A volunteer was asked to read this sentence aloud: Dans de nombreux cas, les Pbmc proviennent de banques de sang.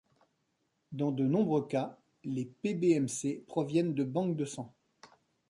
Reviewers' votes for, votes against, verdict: 2, 0, accepted